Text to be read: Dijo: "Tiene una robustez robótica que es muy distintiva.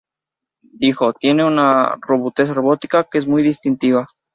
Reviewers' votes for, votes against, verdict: 2, 0, accepted